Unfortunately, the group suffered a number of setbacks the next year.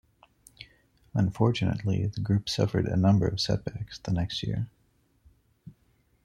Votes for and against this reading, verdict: 2, 1, accepted